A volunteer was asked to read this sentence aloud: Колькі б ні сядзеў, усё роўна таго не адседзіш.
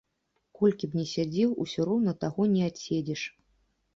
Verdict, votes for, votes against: accepted, 2, 0